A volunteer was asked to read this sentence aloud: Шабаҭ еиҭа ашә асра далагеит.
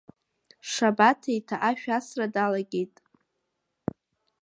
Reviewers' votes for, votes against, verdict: 0, 2, rejected